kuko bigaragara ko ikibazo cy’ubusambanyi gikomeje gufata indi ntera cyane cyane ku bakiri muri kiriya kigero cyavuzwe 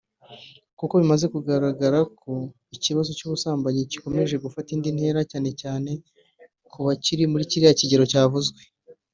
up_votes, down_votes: 0, 2